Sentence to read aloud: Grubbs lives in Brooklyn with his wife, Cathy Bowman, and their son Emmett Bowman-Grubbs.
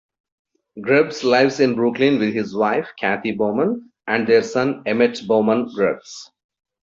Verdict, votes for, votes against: accepted, 2, 0